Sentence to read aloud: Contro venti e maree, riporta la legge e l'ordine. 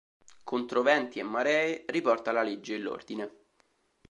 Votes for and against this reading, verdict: 2, 0, accepted